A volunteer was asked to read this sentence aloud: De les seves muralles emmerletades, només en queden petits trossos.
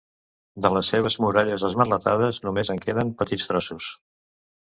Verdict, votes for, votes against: rejected, 1, 2